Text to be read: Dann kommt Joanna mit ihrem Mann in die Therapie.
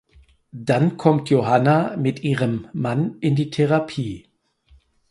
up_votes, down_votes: 0, 4